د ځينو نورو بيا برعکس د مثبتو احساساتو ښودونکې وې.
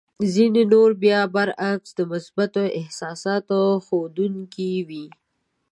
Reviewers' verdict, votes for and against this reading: accepted, 2, 0